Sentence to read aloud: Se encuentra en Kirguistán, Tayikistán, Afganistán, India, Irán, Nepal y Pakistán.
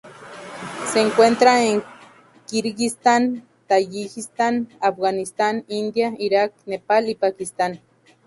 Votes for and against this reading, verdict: 0, 2, rejected